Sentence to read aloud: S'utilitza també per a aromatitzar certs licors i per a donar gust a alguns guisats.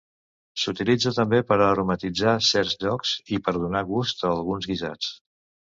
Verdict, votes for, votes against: rejected, 0, 2